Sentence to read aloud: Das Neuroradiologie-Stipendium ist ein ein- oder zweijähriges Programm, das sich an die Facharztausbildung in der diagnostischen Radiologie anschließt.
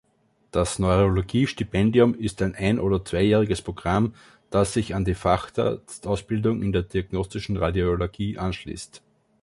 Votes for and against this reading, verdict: 0, 2, rejected